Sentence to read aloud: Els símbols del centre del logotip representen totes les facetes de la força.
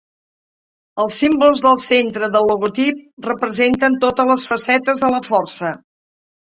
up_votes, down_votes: 3, 0